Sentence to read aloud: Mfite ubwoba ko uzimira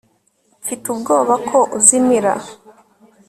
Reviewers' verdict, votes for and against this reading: accepted, 2, 0